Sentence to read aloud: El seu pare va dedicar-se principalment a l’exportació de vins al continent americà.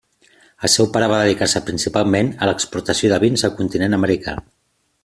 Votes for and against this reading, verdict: 2, 0, accepted